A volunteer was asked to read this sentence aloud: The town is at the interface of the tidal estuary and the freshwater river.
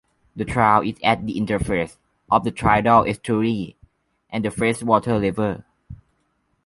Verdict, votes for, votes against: rejected, 1, 2